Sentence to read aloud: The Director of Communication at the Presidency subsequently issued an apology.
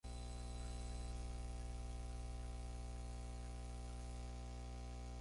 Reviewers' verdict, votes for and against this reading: rejected, 0, 4